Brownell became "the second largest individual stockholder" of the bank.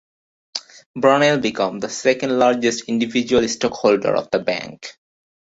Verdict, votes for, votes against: rejected, 0, 2